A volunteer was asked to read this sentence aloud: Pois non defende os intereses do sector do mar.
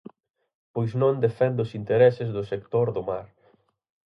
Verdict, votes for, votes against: accepted, 6, 0